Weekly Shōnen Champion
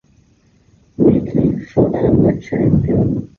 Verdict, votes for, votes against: rejected, 0, 2